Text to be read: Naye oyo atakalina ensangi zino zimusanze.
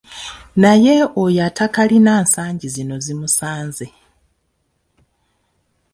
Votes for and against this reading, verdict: 1, 2, rejected